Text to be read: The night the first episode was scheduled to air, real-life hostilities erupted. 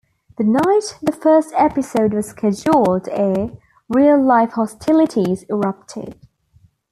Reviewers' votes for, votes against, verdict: 2, 0, accepted